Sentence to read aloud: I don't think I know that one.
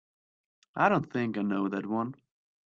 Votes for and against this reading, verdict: 2, 0, accepted